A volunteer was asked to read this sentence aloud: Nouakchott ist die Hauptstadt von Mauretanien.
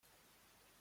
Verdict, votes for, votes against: rejected, 0, 2